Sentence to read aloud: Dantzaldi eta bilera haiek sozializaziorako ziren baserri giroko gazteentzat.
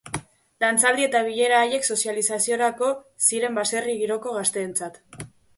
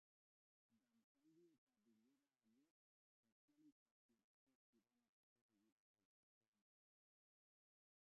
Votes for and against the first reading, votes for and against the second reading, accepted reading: 2, 0, 0, 3, first